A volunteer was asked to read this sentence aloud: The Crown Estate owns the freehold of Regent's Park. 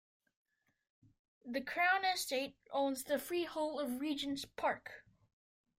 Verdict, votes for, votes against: accepted, 2, 0